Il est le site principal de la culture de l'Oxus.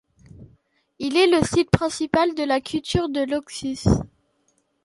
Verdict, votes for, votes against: accepted, 2, 0